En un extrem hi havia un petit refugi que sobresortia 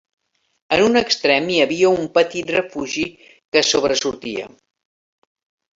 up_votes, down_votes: 3, 0